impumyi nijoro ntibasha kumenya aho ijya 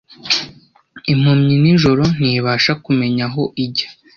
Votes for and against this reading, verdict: 2, 0, accepted